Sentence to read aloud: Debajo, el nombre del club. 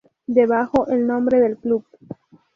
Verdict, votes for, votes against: accepted, 2, 0